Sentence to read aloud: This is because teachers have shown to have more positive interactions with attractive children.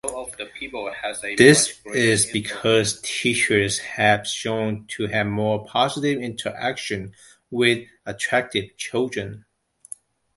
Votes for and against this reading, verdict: 0, 2, rejected